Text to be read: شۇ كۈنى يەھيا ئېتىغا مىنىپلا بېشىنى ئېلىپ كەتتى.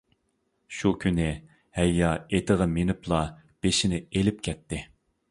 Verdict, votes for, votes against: rejected, 0, 2